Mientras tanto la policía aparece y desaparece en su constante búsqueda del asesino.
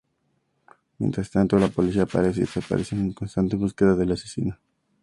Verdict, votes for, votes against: accepted, 2, 0